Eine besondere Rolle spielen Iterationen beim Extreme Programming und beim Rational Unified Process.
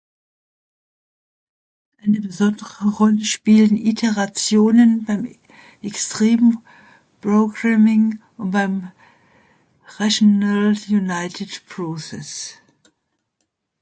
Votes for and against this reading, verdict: 0, 2, rejected